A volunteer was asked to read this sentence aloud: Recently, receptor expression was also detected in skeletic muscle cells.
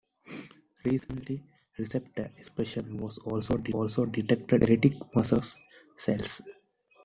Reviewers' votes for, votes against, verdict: 0, 2, rejected